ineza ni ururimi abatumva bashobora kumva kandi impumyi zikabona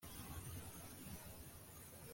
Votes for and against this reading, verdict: 1, 2, rejected